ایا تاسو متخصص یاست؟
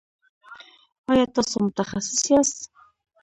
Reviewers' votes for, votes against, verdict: 1, 2, rejected